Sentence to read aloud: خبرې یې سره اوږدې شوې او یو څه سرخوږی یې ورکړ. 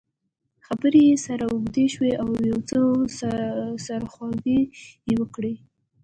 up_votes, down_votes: 2, 0